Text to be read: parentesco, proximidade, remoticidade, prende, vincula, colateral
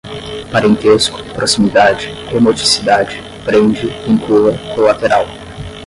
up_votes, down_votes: 0, 5